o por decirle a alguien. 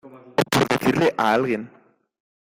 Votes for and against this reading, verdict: 0, 2, rejected